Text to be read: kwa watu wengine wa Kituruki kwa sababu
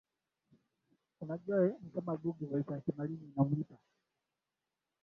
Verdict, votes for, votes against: rejected, 1, 12